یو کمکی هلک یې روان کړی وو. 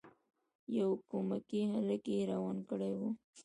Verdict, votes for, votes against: rejected, 1, 2